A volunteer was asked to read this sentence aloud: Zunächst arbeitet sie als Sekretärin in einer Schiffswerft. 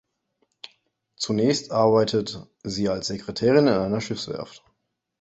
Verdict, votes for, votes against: accepted, 2, 0